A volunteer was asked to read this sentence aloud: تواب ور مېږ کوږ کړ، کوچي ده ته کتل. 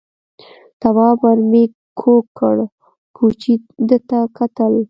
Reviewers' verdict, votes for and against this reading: rejected, 1, 2